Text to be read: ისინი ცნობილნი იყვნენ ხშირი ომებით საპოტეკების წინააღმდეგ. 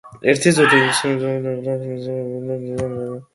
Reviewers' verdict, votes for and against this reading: rejected, 0, 2